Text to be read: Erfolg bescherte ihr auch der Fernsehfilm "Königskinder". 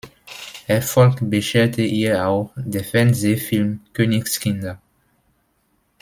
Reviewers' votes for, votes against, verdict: 1, 2, rejected